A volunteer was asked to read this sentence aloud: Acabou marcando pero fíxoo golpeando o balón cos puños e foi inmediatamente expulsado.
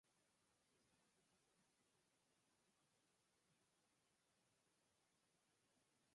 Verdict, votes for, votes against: rejected, 0, 4